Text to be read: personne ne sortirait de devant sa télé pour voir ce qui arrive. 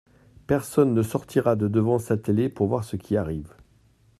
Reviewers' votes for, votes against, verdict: 0, 2, rejected